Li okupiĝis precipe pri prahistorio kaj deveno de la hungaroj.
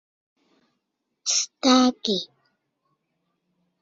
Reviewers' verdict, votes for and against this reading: rejected, 0, 2